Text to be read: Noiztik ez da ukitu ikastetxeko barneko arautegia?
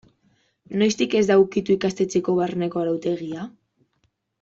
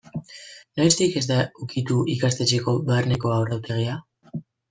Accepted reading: first